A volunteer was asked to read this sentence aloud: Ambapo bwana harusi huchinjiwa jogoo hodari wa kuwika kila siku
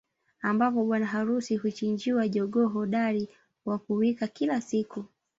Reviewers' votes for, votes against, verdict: 2, 0, accepted